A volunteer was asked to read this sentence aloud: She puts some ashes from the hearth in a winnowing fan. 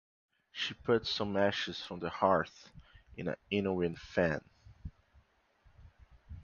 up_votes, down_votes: 1, 2